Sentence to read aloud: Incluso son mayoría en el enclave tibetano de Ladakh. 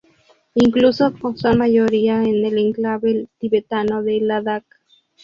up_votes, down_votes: 0, 2